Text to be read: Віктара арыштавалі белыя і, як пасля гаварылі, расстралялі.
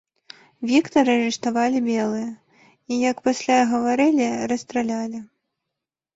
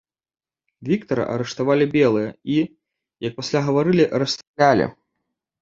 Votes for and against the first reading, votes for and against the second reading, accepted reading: 3, 0, 0, 2, first